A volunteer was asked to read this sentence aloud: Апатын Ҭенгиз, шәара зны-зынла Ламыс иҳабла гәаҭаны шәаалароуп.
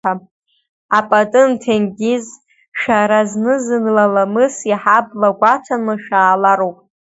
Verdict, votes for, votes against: rejected, 1, 2